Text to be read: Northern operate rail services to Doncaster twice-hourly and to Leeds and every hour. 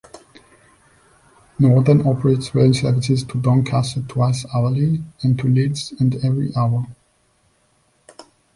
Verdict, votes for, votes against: rejected, 0, 2